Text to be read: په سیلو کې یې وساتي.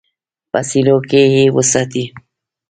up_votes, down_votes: 1, 2